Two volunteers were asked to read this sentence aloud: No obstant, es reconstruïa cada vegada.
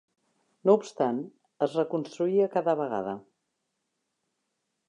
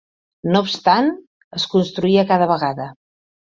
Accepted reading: first